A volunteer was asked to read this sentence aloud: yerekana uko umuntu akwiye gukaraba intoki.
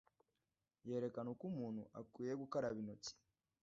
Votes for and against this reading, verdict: 1, 2, rejected